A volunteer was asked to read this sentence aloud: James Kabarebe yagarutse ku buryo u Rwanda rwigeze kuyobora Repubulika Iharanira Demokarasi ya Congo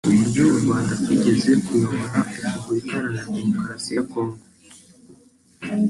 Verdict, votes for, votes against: rejected, 1, 2